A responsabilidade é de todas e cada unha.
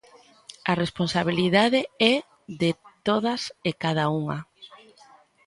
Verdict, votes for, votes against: accepted, 2, 0